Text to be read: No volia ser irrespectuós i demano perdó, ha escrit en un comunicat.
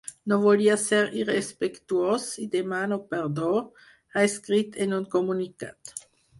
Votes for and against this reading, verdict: 4, 0, accepted